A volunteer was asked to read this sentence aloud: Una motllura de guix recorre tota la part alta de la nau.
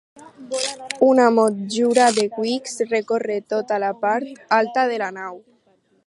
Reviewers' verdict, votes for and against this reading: rejected, 0, 2